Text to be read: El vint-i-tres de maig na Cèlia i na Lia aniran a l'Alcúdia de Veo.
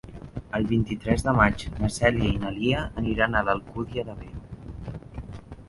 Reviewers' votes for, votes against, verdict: 2, 0, accepted